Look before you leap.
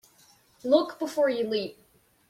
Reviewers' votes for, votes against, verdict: 2, 0, accepted